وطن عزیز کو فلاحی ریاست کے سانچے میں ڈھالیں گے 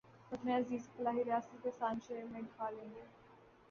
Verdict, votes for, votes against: rejected, 0, 2